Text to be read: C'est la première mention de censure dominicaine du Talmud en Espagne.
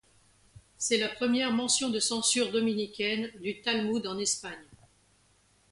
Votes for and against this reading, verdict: 2, 0, accepted